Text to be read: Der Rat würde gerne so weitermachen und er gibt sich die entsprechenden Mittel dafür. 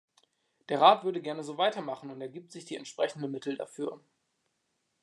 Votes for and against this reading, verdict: 2, 0, accepted